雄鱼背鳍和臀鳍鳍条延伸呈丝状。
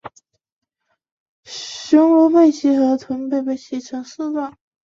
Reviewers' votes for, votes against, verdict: 3, 0, accepted